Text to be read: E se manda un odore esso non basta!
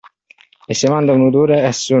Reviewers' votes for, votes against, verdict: 0, 2, rejected